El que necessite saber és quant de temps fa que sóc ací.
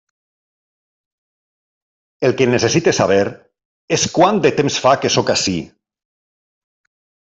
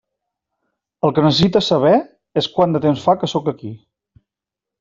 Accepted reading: first